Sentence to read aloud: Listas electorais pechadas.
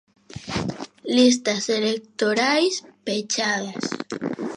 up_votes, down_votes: 2, 0